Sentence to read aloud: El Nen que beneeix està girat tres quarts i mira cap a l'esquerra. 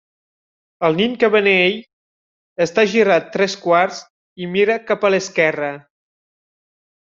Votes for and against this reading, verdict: 0, 2, rejected